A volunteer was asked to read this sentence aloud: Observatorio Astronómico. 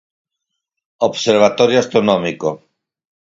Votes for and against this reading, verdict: 4, 0, accepted